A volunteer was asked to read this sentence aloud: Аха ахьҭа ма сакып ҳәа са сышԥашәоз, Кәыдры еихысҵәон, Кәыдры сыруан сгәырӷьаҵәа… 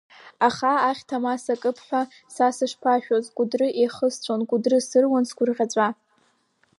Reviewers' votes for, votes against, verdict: 8, 0, accepted